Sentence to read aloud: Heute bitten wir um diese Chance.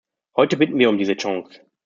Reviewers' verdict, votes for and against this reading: rejected, 1, 2